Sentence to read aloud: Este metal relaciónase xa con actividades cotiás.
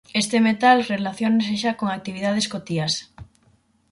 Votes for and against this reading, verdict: 4, 0, accepted